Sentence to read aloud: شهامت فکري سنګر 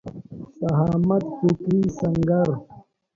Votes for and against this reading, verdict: 2, 1, accepted